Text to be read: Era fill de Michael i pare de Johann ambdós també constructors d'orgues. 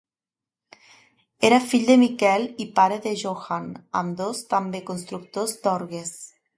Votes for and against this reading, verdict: 2, 1, accepted